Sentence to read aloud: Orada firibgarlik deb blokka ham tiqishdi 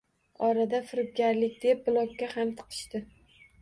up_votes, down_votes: 1, 2